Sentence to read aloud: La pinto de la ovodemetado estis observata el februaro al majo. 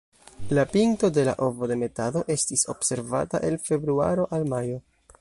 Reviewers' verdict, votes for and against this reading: rejected, 1, 2